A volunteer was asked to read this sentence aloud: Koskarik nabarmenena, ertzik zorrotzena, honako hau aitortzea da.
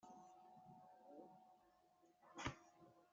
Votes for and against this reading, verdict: 0, 2, rejected